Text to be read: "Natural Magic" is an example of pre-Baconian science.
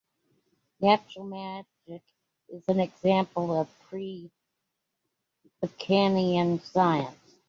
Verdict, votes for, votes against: rejected, 0, 2